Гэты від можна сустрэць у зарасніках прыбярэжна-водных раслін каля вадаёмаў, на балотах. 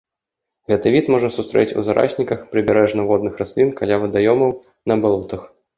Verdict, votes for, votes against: rejected, 0, 2